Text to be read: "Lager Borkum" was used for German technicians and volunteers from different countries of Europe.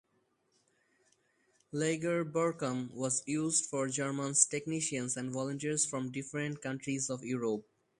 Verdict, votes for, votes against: rejected, 2, 2